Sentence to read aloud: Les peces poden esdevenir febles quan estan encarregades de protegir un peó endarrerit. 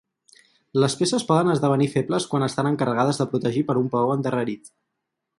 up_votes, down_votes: 2, 4